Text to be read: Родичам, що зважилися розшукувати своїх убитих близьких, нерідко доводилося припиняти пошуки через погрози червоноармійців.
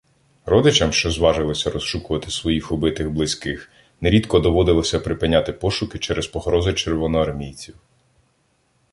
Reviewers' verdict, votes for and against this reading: accepted, 2, 0